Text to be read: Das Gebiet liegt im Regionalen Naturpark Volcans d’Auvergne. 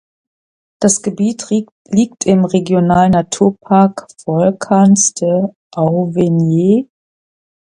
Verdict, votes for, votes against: rejected, 0, 3